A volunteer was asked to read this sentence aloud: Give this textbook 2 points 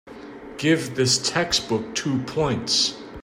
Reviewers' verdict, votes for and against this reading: rejected, 0, 2